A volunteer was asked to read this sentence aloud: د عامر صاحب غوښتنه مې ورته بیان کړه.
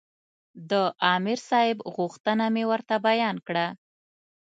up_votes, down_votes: 2, 0